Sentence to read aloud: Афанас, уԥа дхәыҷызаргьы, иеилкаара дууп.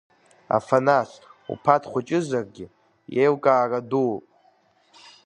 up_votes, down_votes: 2, 0